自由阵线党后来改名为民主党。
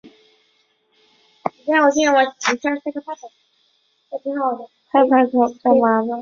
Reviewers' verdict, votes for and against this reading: rejected, 0, 2